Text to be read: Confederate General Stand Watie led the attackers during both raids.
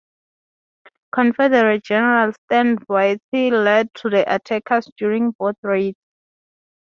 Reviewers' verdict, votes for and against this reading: accepted, 2, 0